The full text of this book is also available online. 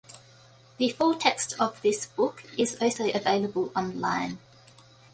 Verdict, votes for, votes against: accepted, 2, 0